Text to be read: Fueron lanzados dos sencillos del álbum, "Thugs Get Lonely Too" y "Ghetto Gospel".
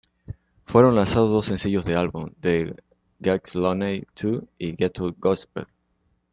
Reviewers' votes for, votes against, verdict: 0, 2, rejected